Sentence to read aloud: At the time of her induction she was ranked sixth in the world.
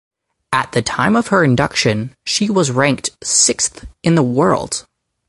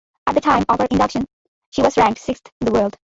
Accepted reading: first